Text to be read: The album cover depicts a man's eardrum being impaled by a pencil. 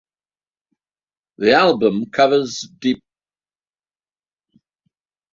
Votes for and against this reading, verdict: 0, 2, rejected